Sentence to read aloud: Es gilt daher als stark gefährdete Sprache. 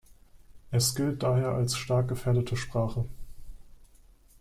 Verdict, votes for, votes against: rejected, 1, 2